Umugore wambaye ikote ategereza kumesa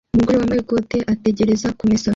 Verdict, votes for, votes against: accepted, 2, 1